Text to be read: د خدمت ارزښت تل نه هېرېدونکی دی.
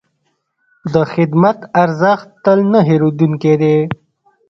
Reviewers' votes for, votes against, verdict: 1, 2, rejected